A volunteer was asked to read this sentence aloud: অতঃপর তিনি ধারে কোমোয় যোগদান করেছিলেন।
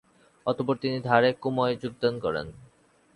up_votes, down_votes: 0, 2